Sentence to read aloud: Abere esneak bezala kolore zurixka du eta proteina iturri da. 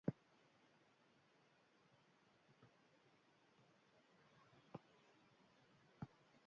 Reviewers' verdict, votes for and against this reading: rejected, 0, 2